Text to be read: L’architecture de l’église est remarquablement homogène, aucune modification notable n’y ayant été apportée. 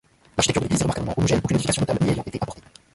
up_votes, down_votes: 0, 2